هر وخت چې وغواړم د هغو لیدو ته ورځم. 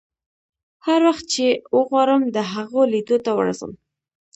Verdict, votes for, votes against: rejected, 0, 2